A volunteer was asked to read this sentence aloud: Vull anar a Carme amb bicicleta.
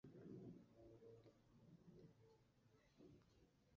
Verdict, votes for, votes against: rejected, 0, 2